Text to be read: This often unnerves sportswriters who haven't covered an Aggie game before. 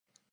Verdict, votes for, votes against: rejected, 0, 2